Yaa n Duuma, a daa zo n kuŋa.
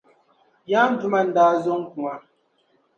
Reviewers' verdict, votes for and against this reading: rejected, 0, 2